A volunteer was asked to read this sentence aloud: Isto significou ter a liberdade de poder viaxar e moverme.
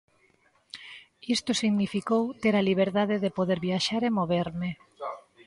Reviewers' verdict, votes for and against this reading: accepted, 2, 1